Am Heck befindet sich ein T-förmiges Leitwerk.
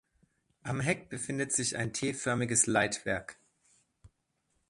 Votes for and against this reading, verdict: 2, 1, accepted